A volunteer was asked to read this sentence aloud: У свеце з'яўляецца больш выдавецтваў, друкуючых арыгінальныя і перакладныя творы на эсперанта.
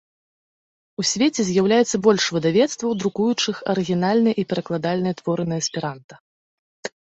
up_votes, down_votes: 1, 2